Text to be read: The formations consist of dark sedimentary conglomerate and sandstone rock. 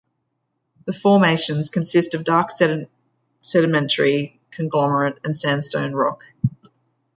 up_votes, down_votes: 0, 2